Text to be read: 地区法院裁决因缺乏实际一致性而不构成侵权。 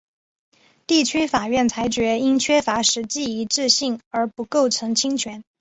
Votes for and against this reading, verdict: 5, 1, accepted